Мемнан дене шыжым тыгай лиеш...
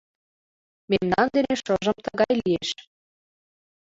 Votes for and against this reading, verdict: 2, 0, accepted